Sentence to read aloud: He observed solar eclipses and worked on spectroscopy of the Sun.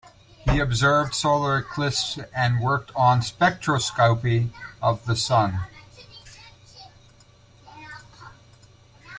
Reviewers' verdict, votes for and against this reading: rejected, 1, 2